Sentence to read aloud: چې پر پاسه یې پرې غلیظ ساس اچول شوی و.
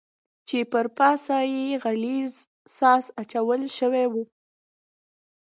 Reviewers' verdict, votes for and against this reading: rejected, 1, 2